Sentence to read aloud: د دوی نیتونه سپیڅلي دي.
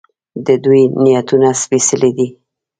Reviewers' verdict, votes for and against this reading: rejected, 1, 2